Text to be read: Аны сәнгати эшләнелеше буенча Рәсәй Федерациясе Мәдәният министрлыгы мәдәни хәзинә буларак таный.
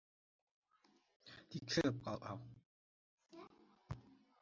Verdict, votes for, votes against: rejected, 1, 2